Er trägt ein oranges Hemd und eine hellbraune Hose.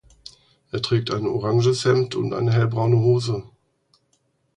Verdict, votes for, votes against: accepted, 4, 0